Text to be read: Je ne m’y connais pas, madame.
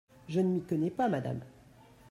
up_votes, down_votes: 2, 1